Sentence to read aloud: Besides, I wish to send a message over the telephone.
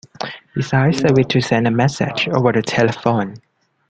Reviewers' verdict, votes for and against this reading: rejected, 0, 2